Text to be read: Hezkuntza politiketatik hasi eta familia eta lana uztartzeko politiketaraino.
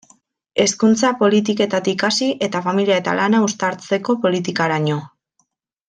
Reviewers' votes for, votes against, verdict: 1, 2, rejected